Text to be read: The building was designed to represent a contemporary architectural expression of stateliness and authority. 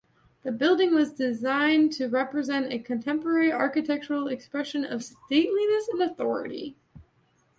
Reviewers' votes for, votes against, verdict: 2, 0, accepted